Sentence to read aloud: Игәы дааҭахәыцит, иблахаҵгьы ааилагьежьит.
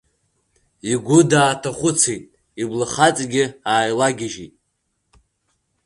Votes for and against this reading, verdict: 2, 0, accepted